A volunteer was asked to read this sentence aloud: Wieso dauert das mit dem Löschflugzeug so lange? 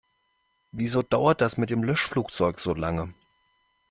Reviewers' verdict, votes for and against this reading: accepted, 2, 0